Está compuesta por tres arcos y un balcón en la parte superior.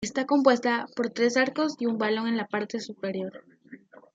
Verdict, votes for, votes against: accepted, 2, 0